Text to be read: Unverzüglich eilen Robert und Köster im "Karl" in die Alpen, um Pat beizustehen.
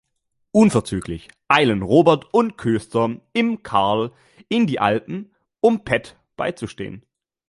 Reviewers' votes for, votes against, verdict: 2, 0, accepted